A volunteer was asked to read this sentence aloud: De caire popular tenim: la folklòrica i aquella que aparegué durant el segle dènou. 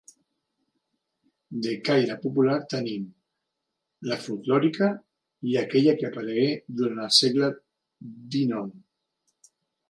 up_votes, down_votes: 1, 2